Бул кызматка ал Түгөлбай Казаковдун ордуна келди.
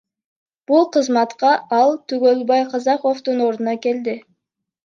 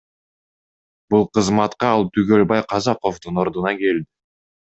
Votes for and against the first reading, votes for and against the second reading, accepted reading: 2, 1, 0, 2, first